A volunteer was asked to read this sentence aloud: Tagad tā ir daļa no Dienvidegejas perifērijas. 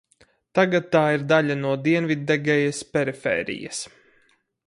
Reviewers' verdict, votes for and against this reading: accepted, 4, 0